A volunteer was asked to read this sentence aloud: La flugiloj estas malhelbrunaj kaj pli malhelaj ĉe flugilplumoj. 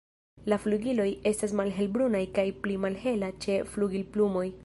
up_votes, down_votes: 1, 2